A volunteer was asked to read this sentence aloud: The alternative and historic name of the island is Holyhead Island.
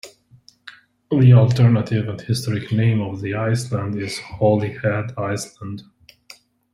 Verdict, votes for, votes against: rejected, 0, 2